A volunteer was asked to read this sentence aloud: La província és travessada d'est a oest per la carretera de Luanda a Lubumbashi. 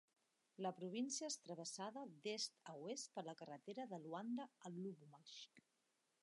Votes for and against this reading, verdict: 1, 2, rejected